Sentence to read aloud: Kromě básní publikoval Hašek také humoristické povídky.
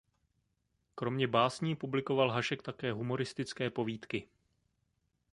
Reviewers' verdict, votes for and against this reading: accepted, 2, 0